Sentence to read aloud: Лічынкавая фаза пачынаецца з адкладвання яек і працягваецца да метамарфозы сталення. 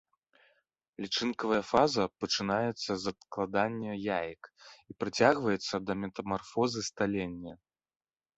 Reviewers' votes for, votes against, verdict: 1, 2, rejected